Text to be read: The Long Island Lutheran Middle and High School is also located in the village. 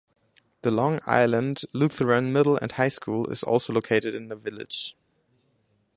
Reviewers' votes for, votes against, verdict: 2, 0, accepted